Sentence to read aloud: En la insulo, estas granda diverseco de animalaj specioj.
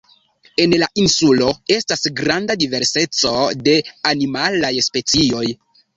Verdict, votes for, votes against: accepted, 2, 1